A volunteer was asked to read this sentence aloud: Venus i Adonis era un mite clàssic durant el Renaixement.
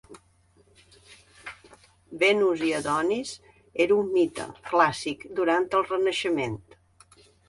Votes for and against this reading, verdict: 2, 0, accepted